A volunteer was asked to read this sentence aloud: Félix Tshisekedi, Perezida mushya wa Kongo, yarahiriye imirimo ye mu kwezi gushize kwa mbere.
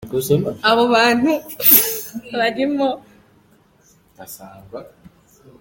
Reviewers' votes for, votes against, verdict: 1, 2, rejected